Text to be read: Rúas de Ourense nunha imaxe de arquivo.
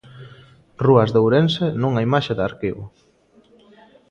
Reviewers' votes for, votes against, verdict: 2, 0, accepted